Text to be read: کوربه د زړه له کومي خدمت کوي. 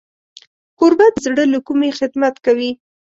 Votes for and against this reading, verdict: 2, 0, accepted